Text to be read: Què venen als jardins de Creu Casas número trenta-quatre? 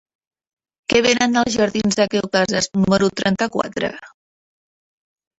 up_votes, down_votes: 1, 2